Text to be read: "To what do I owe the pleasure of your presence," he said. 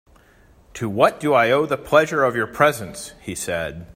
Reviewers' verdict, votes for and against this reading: accepted, 3, 0